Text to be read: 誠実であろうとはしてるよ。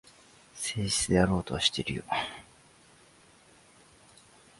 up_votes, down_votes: 2, 1